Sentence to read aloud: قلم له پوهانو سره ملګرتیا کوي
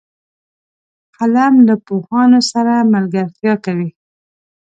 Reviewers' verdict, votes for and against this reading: accepted, 2, 0